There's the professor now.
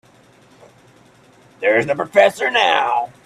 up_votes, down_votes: 2, 3